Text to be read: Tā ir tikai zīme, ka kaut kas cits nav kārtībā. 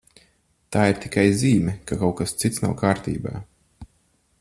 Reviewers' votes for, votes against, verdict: 4, 0, accepted